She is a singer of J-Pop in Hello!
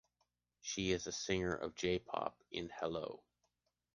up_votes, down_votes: 3, 0